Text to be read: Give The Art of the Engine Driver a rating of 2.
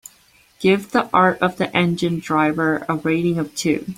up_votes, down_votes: 0, 2